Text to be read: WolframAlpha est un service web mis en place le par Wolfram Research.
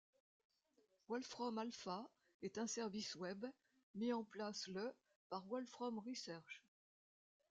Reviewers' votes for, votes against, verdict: 2, 1, accepted